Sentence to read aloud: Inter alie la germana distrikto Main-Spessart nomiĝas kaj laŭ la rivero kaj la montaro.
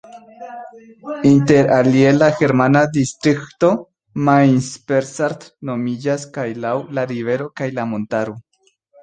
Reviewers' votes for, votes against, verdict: 1, 2, rejected